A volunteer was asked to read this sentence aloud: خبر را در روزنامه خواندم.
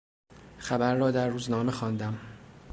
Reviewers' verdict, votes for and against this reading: accepted, 2, 0